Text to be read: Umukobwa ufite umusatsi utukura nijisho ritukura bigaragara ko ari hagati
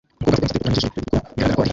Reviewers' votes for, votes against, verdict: 0, 2, rejected